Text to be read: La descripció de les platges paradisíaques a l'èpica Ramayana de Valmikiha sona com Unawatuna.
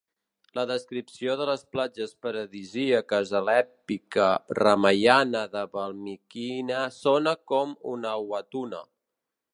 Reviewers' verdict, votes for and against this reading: rejected, 1, 2